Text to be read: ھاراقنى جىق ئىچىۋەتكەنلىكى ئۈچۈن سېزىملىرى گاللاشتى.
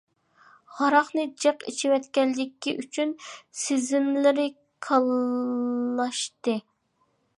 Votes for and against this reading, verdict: 0, 2, rejected